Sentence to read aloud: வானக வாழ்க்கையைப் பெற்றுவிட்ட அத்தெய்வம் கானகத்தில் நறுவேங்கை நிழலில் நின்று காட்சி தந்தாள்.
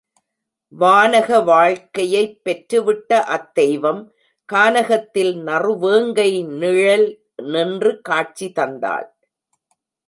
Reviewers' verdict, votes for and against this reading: rejected, 0, 2